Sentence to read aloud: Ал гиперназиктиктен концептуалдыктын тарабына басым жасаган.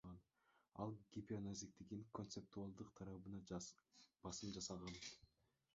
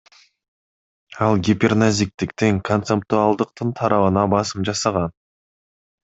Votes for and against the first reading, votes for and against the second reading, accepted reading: 0, 2, 2, 0, second